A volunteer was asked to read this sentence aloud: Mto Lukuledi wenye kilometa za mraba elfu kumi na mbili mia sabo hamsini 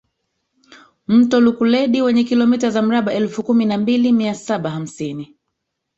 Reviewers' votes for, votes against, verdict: 1, 2, rejected